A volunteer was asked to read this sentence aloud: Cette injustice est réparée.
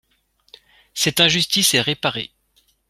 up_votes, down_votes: 2, 0